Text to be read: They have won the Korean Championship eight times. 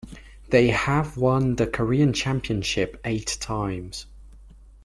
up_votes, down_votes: 2, 0